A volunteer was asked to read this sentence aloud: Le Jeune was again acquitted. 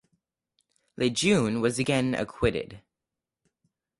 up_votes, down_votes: 2, 2